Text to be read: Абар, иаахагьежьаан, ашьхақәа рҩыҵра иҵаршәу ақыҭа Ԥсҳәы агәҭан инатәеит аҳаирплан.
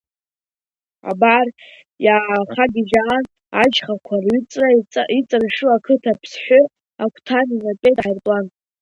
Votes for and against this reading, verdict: 1, 3, rejected